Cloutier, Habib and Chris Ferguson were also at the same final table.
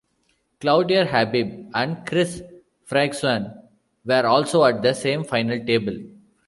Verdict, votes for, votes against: rejected, 1, 2